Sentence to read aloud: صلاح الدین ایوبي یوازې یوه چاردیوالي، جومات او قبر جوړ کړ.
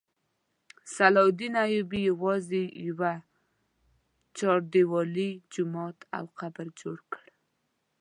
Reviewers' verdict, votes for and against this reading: accepted, 2, 0